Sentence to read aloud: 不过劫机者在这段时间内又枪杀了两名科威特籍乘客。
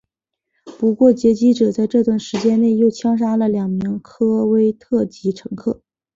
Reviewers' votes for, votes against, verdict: 3, 1, accepted